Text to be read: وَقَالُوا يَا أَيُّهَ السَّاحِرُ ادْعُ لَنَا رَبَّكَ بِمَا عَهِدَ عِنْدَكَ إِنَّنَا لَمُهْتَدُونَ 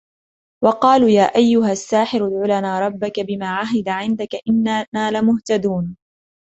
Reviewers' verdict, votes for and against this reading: accepted, 2, 0